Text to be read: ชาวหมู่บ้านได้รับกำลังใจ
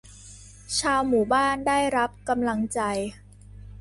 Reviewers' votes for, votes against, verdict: 2, 0, accepted